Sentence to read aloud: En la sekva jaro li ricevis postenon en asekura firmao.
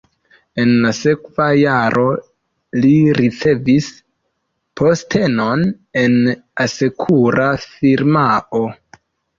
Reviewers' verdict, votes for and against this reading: accepted, 2, 0